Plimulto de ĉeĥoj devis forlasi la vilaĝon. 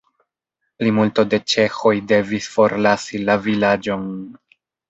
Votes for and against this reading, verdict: 2, 0, accepted